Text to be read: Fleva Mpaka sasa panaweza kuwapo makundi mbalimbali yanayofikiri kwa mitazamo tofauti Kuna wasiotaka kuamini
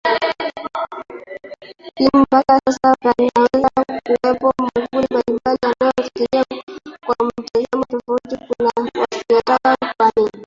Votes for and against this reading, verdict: 0, 2, rejected